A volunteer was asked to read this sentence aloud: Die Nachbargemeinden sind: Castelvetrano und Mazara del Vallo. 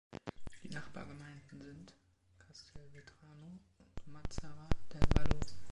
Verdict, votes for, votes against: rejected, 1, 3